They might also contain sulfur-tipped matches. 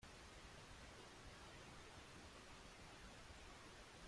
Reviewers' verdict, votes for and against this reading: rejected, 0, 3